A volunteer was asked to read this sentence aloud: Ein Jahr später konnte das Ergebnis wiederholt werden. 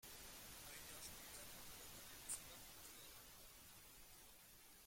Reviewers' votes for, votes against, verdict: 0, 2, rejected